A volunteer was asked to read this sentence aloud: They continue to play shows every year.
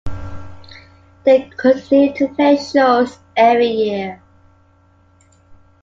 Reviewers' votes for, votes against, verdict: 2, 0, accepted